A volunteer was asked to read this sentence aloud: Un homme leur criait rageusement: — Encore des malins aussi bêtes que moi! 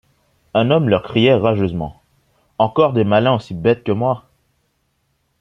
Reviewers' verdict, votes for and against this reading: accepted, 2, 0